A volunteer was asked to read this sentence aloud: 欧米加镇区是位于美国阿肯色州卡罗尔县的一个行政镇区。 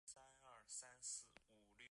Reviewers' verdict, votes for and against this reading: rejected, 0, 3